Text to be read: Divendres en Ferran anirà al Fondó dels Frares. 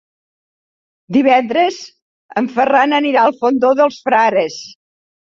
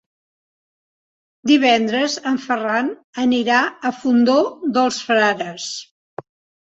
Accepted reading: first